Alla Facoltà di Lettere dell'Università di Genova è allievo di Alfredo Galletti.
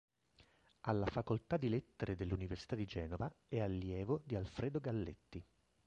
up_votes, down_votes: 1, 2